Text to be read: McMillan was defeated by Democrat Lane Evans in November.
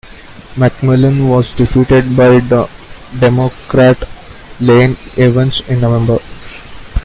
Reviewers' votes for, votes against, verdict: 2, 1, accepted